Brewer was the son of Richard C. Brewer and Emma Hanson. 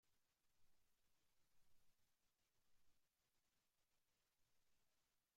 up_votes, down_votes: 0, 2